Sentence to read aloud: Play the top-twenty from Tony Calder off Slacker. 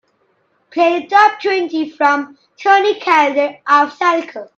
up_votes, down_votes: 0, 2